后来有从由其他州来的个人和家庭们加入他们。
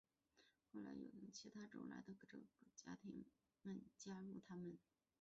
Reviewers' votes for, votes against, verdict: 0, 2, rejected